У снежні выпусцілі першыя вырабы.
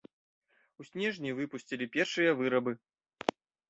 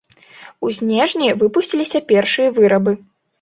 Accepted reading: first